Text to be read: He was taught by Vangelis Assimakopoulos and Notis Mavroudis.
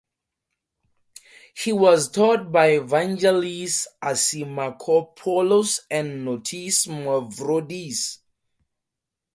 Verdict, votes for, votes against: accepted, 4, 0